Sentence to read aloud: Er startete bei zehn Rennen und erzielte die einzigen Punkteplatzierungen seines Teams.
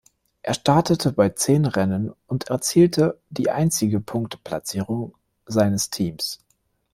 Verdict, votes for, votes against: rejected, 1, 2